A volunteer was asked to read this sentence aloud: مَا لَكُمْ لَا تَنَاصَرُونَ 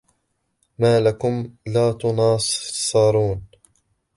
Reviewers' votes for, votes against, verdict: 1, 2, rejected